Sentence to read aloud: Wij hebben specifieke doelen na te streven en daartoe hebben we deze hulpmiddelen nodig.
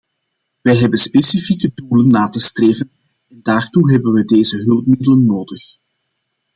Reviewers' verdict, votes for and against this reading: rejected, 1, 2